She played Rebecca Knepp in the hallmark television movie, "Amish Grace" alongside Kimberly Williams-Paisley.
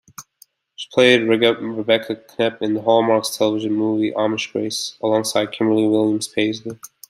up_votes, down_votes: 0, 2